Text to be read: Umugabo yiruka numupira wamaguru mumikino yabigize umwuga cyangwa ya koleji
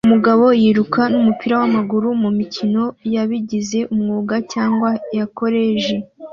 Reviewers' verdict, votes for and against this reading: accepted, 2, 0